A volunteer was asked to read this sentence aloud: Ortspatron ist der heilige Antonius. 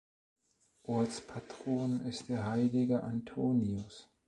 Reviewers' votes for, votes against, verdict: 2, 0, accepted